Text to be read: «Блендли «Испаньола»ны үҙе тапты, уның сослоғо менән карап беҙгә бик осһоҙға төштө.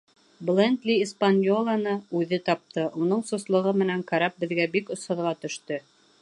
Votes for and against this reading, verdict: 2, 0, accepted